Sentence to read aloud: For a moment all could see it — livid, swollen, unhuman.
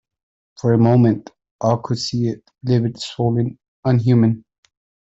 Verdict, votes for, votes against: accepted, 2, 1